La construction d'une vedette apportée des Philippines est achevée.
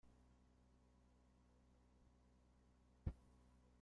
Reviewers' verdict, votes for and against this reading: rejected, 0, 5